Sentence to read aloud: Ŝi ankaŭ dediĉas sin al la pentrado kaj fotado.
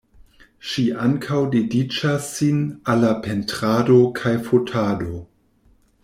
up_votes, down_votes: 2, 0